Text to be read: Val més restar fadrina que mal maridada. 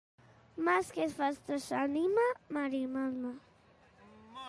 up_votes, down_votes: 0, 2